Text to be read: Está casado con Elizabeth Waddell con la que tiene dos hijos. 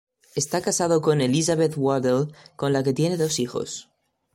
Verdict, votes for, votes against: accepted, 2, 0